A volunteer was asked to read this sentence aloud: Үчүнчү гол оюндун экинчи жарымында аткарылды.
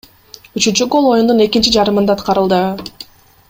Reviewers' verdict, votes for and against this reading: rejected, 1, 2